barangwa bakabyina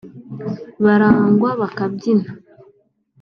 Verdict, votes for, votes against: accepted, 3, 0